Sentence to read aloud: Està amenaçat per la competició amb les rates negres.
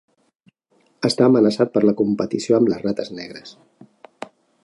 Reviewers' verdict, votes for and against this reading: accepted, 3, 0